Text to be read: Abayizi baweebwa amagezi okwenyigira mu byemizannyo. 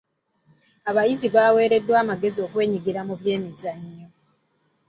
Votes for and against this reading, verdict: 1, 2, rejected